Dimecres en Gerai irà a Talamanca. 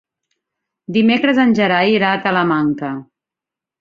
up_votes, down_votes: 4, 0